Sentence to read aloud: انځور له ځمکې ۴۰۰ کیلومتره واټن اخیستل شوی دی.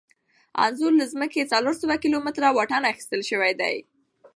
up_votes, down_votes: 0, 2